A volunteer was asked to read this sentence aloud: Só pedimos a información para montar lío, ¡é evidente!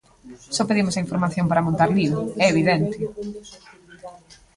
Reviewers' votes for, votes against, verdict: 2, 1, accepted